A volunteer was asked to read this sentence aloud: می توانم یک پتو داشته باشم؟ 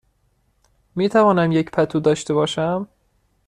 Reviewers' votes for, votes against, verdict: 2, 0, accepted